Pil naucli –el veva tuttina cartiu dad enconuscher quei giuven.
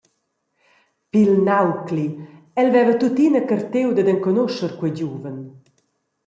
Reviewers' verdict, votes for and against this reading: accepted, 2, 0